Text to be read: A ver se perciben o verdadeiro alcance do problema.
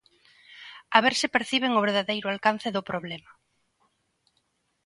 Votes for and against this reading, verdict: 2, 0, accepted